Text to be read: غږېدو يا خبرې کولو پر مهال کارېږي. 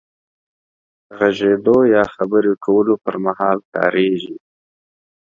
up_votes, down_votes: 3, 1